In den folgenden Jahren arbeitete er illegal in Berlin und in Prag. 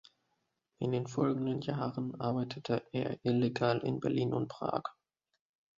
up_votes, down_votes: 1, 2